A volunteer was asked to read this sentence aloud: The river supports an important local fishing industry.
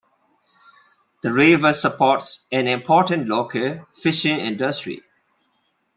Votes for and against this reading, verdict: 2, 0, accepted